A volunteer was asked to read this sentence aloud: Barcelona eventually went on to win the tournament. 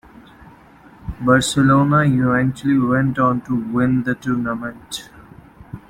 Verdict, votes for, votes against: accepted, 2, 0